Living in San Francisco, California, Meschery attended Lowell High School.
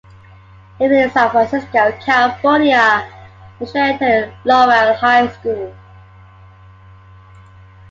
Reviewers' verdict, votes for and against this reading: accepted, 2, 0